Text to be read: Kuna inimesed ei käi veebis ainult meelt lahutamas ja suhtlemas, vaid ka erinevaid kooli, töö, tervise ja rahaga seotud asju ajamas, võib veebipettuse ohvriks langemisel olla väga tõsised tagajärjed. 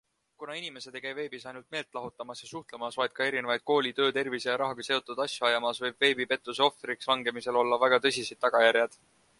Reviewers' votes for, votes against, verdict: 2, 0, accepted